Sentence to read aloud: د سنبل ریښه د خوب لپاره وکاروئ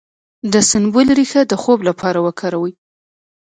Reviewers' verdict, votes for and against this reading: rejected, 0, 2